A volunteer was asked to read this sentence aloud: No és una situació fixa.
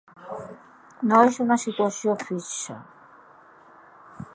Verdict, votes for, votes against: rejected, 0, 2